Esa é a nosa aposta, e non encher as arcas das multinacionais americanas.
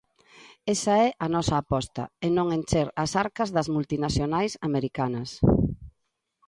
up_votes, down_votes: 2, 0